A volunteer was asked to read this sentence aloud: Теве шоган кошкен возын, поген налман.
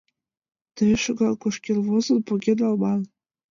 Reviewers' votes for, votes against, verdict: 1, 2, rejected